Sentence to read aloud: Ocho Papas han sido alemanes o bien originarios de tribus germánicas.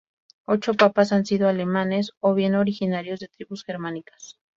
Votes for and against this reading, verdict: 2, 0, accepted